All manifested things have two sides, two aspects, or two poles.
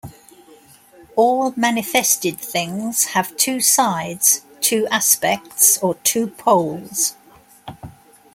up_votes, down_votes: 2, 0